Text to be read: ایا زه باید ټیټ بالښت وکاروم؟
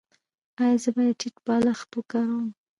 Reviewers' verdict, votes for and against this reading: rejected, 0, 2